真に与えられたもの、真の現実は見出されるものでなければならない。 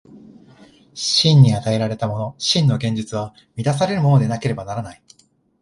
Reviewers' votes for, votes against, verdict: 0, 2, rejected